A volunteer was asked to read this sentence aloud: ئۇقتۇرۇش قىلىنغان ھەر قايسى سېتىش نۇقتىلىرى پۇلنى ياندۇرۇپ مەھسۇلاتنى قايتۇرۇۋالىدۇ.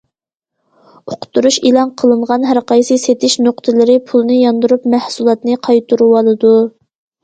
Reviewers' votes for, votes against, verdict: 1, 2, rejected